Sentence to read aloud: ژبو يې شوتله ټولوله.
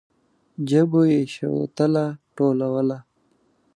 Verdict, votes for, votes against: accepted, 2, 0